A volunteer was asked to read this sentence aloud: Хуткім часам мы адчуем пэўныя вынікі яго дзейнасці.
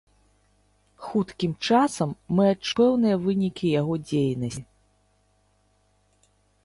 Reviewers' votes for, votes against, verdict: 1, 2, rejected